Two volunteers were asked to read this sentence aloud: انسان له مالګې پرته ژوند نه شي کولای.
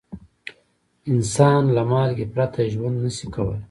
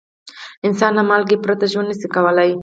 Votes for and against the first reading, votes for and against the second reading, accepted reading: 0, 2, 4, 0, second